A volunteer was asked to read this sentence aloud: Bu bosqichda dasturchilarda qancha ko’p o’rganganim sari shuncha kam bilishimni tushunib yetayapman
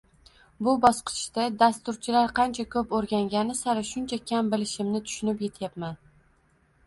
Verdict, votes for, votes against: rejected, 0, 2